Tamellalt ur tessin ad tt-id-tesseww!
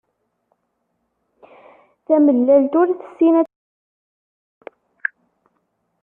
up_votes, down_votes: 0, 2